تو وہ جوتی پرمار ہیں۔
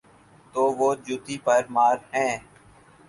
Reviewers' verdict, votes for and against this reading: accepted, 4, 2